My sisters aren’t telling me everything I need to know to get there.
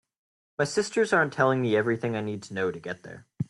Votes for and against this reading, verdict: 2, 0, accepted